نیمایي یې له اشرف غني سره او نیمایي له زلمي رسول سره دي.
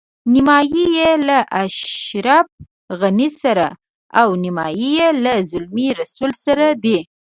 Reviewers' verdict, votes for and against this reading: rejected, 0, 2